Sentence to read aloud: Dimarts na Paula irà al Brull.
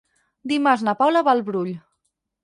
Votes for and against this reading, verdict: 2, 4, rejected